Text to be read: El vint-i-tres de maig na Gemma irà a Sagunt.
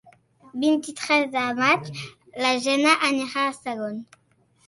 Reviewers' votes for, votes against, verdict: 0, 2, rejected